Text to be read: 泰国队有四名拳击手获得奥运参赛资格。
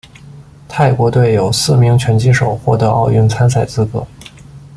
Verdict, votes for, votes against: accepted, 2, 0